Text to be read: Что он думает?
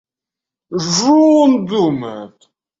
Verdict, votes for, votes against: rejected, 1, 2